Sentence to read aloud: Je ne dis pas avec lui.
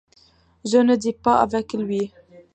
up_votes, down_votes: 3, 0